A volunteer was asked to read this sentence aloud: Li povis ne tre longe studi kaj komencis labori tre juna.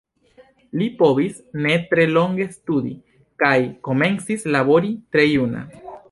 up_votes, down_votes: 1, 2